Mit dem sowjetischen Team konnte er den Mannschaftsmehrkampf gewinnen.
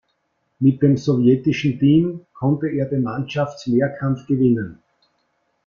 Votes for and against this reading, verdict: 2, 0, accepted